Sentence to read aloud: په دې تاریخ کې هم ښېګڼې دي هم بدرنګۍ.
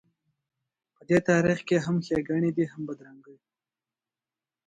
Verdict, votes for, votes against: accepted, 2, 0